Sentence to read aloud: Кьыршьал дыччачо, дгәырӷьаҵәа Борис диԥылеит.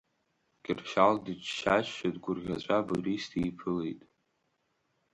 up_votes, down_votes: 0, 2